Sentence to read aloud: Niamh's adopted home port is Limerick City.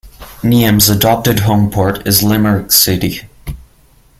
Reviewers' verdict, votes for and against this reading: rejected, 0, 2